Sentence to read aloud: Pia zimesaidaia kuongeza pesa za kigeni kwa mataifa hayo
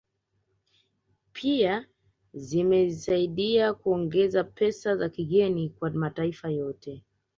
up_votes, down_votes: 1, 2